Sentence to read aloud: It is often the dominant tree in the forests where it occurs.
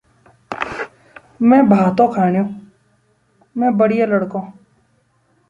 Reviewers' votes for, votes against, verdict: 1, 2, rejected